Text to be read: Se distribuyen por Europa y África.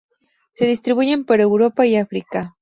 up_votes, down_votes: 4, 0